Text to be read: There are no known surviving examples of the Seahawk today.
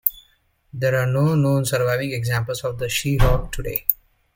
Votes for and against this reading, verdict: 2, 0, accepted